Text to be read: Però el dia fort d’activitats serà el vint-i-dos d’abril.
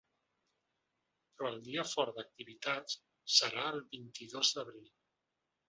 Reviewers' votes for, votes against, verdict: 2, 1, accepted